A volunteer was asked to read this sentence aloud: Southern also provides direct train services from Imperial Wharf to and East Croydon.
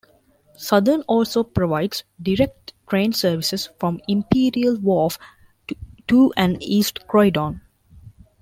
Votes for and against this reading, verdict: 0, 2, rejected